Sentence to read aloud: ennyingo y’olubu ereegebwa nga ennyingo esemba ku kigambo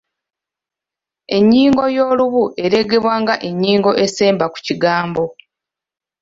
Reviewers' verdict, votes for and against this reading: accepted, 2, 0